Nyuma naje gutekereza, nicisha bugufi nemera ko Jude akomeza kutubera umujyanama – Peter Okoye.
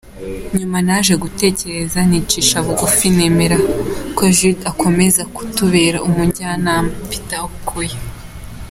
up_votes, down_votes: 2, 0